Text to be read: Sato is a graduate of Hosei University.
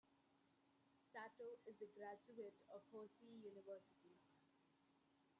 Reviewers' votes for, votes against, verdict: 2, 1, accepted